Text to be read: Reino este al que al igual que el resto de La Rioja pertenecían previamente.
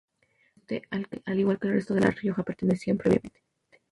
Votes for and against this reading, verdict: 0, 2, rejected